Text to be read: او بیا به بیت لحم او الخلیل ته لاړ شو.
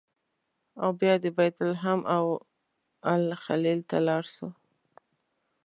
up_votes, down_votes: 2, 0